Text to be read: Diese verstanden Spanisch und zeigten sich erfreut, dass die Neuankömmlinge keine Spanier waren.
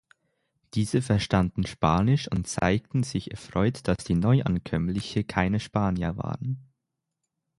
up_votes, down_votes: 3, 6